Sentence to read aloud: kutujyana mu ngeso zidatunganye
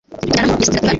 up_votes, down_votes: 0, 2